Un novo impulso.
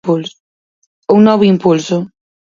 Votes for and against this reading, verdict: 2, 4, rejected